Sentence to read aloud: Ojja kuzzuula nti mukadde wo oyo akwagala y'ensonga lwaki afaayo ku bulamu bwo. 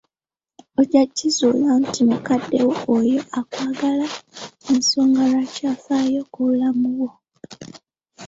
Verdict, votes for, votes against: rejected, 0, 2